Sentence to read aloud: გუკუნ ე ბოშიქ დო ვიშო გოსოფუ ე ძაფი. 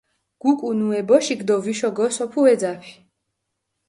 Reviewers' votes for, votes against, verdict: 4, 0, accepted